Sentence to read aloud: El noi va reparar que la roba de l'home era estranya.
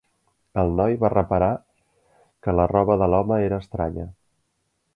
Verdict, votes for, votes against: accepted, 3, 1